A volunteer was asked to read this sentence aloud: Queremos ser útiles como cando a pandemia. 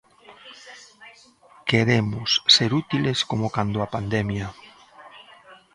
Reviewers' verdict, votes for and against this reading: rejected, 1, 2